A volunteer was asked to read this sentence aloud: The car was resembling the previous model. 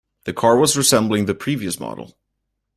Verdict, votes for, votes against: accepted, 2, 0